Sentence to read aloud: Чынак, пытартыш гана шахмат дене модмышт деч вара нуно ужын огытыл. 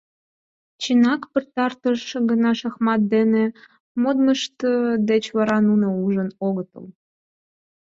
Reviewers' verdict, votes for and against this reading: rejected, 0, 4